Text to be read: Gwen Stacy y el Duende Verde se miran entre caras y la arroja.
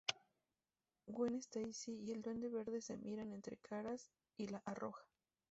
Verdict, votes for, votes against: accepted, 2, 0